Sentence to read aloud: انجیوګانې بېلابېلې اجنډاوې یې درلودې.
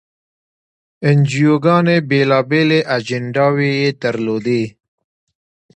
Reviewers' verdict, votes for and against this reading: accepted, 2, 0